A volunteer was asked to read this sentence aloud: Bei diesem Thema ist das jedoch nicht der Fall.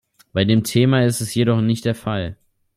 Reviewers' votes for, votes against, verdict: 2, 3, rejected